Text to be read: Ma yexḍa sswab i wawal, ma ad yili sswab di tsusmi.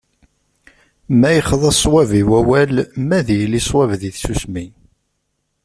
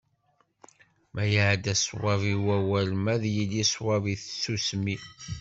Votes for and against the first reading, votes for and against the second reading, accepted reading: 2, 0, 1, 2, first